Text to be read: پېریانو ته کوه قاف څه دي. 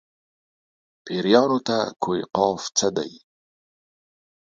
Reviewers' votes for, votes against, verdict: 2, 0, accepted